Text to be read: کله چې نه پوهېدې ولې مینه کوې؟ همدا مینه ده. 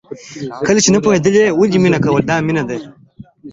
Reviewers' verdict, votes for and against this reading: accepted, 2, 0